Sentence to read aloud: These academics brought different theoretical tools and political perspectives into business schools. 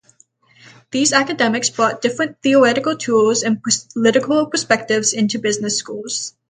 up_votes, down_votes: 0, 3